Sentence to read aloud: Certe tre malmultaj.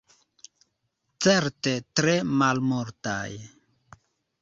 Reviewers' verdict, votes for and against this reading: accepted, 2, 0